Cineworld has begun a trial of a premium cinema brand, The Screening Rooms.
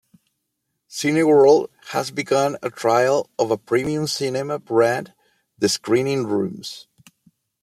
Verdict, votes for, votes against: accepted, 2, 0